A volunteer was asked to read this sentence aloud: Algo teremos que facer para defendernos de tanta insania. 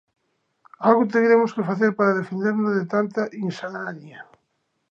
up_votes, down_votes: 0, 2